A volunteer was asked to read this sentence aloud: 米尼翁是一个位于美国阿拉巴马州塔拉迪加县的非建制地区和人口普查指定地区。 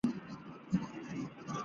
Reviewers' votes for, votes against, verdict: 2, 3, rejected